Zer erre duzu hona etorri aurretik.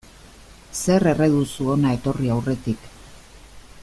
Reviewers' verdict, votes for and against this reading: accepted, 2, 0